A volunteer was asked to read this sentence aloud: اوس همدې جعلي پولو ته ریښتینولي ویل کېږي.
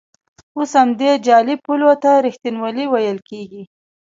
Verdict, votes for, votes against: accepted, 2, 1